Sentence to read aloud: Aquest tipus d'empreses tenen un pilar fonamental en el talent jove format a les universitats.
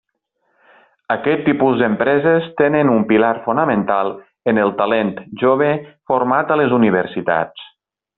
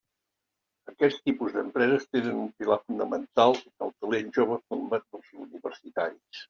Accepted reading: first